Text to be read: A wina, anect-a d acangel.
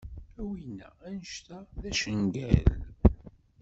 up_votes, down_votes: 0, 2